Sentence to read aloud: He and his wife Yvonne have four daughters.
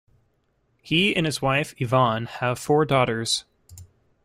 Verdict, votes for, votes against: accepted, 2, 0